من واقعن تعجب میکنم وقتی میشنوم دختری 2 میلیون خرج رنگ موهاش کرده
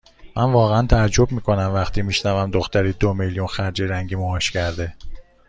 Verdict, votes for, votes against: rejected, 0, 2